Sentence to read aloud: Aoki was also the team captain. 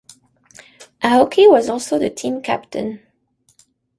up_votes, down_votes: 2, 0